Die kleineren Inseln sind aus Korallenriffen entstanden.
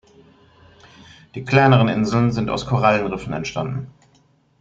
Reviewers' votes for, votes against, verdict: 2, 0, accepted